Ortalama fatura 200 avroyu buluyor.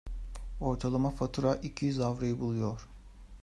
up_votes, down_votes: 0, 2